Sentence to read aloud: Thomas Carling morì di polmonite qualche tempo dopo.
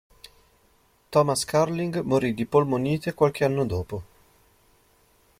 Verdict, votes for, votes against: rejected, 0, 2